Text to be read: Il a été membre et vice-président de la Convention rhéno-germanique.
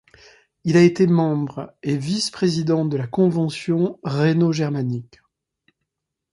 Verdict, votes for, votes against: accepted, 2, 0